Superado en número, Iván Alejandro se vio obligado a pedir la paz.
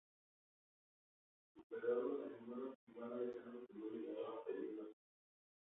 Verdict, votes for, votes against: rejected, 0, 2